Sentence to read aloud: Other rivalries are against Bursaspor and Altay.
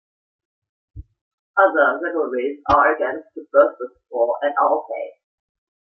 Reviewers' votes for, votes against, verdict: 2, 1, accepted